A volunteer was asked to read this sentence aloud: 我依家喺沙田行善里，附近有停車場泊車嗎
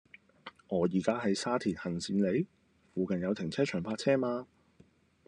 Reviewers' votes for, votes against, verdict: 1, 2, rejected